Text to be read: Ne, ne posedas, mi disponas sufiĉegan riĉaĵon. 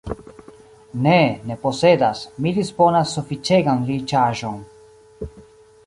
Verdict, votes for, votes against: accepted, 2, 1